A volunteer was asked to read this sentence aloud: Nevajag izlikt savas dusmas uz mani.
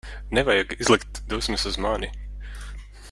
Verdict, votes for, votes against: rejected, 0, 2